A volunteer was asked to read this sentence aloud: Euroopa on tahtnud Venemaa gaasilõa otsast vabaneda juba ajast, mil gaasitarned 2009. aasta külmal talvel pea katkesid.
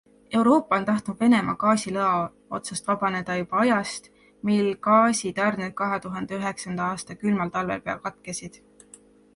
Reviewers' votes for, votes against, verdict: 0, 2, rejected